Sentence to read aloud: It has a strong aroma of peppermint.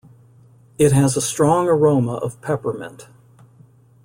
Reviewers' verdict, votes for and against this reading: accepted, 2, 0